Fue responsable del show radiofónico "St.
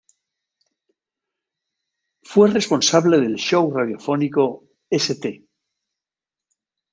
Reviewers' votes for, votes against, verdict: 2, 0, accepted